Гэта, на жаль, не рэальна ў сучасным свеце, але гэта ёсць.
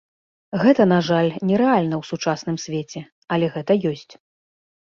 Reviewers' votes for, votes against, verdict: 2, 0, accepted